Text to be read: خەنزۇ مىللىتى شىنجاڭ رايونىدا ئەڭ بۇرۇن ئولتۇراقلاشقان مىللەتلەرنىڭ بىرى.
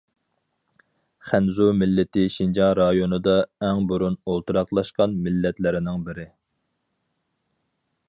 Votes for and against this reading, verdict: 4, 0, accepted